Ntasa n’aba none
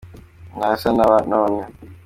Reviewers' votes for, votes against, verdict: 2, 1, accepted